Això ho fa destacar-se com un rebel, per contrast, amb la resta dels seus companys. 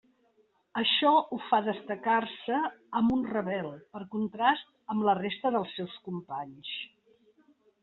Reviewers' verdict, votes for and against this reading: rejected, 0, 2